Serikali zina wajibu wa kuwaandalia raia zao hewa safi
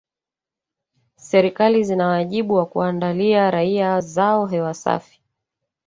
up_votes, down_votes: 1, 2